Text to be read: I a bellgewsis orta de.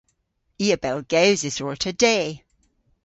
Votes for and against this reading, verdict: 2, 0, accepted